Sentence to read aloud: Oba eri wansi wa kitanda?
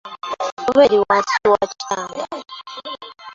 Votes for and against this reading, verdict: 0, 2, rejected